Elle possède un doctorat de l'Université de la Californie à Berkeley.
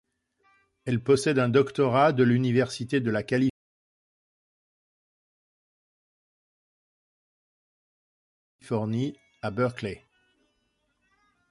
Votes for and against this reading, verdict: 0, 2, rejected